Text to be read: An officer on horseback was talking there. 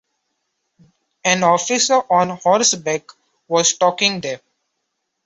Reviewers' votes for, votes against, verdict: 2, 0, accepted